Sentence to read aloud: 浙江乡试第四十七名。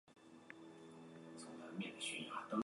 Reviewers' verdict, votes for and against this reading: rejected, 0, 2